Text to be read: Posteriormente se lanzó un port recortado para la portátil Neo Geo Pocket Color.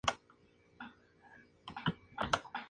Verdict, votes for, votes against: rejected, 0, 2